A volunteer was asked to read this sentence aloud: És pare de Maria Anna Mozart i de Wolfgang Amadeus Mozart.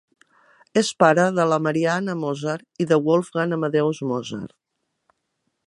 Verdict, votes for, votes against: rejected, 1, 2